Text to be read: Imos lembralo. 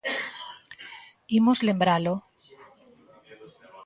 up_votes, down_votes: 2, 0